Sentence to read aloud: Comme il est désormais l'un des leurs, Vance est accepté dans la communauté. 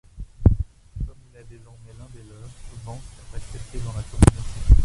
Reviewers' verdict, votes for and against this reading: rejected, 1, 2